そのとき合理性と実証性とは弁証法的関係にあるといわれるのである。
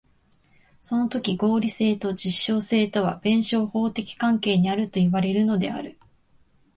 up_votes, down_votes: 2, 1